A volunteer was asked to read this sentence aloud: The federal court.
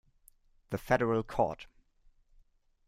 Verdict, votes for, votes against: accepted, 2, 0